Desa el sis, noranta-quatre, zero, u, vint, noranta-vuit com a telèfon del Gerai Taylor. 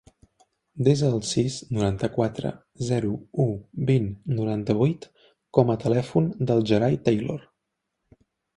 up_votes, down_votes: 3, 0